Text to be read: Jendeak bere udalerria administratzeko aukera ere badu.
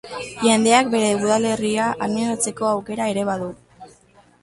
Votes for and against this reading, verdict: 0, 2, rejected